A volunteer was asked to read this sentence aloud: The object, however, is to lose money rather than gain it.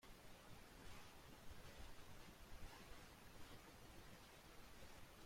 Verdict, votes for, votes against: rejected, 0, 2